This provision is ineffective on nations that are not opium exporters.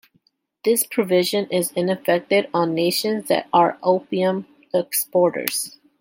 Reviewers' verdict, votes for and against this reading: rejected, 1, 2